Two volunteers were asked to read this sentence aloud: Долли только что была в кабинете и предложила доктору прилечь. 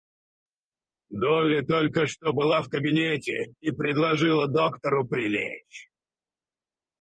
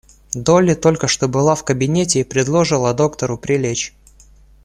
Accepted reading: second